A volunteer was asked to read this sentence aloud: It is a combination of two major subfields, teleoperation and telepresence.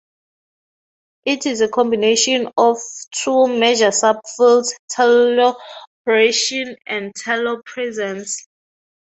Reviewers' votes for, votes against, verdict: 0, 2, rejected